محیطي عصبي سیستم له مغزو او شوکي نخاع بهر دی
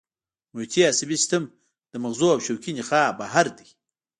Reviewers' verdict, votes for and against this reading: accepted, 2, 0